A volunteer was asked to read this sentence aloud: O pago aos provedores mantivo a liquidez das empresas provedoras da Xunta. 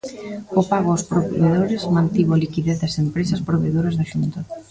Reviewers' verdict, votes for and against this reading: rejected, 1, 2